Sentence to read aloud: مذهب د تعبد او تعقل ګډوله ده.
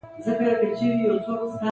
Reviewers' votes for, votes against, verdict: 1, 3, rejected